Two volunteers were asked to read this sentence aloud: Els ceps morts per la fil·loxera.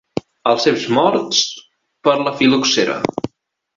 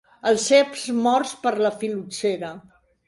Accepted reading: second